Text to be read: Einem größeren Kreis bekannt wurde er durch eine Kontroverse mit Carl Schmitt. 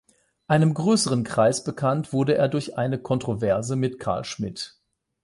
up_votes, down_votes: 12, 0